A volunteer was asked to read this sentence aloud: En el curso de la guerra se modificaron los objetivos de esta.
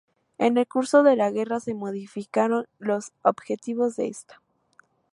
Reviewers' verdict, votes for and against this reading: accepted, 2, 0